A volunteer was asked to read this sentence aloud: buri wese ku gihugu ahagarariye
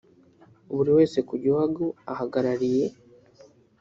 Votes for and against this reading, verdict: 1, 2, rejected